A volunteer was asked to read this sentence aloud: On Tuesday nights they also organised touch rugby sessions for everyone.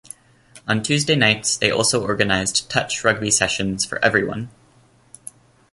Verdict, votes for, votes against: accepted, 2, 0